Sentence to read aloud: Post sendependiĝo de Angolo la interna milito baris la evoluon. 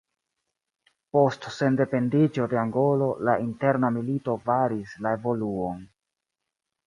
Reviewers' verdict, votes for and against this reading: rejected, 1, 2